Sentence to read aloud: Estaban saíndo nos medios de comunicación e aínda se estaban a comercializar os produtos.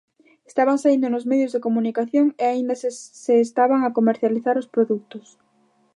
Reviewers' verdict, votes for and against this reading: rejected, 0, 2